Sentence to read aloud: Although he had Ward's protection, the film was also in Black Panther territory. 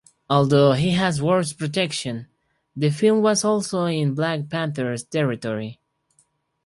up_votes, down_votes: 0, 4